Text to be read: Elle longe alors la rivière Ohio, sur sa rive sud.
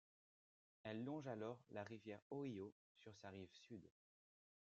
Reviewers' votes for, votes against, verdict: 1, 2, rejected